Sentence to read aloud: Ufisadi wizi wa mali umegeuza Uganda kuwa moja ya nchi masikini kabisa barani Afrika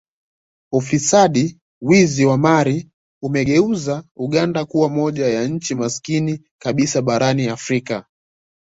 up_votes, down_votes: 2, 0